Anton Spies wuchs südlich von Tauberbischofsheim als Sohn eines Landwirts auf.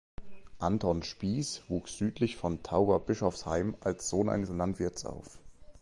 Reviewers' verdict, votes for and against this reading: rejected, 1, 2